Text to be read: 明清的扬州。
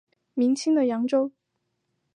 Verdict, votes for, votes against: accepted, 2, 0